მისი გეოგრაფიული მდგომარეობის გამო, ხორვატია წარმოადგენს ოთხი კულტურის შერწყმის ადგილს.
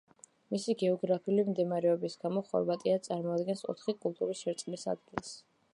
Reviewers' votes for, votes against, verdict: 2, 1, accepted